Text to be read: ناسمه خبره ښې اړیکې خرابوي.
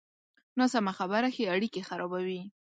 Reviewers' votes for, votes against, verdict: 2, 0, accepted